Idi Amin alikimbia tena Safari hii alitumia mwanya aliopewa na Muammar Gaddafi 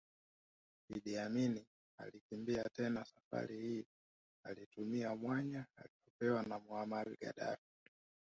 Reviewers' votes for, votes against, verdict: 1, 2, rejected